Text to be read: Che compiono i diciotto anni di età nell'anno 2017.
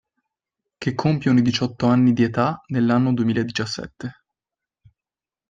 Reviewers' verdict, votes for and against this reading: rejected, 0, 2